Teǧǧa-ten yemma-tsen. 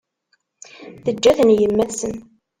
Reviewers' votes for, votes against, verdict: 1, 2, rejected